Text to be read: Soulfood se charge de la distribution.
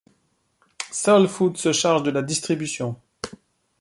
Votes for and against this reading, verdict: 1, 2, rejected